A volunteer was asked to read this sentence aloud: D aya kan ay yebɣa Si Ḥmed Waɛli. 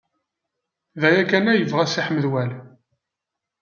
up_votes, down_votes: 2, 0